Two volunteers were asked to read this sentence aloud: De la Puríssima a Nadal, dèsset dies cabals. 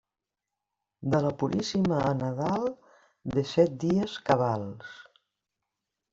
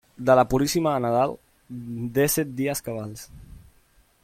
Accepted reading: first